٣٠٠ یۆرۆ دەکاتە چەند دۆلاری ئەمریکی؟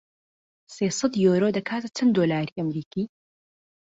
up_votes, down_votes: 0, 2